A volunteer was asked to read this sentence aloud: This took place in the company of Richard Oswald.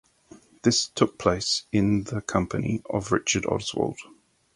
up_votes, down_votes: 4, 0